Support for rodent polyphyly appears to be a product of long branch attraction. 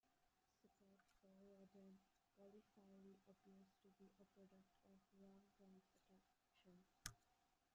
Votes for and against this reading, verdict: 0, 2, rejected